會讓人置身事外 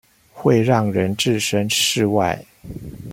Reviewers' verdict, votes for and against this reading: accepted, 2, 0